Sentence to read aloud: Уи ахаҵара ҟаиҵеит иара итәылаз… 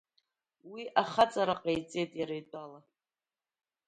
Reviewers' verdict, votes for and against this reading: rejected, 0, 2